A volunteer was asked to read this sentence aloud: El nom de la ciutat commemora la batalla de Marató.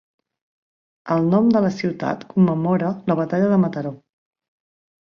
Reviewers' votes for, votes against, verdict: 1, 2, rejected